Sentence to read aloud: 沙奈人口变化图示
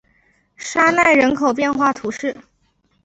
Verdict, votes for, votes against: rejected, 0, 2